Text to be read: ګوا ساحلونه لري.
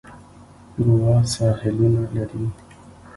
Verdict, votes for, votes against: rejected, 0, 2